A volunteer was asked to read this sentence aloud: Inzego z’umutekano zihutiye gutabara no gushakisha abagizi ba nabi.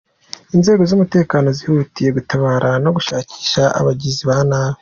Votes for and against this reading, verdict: 2, 0, accepted